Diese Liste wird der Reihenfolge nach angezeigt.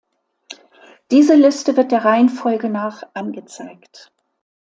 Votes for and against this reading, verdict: 2, 0, accepted